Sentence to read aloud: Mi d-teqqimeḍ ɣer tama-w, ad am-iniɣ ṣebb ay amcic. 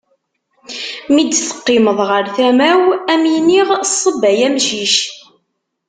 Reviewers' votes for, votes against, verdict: 2, 0, accepted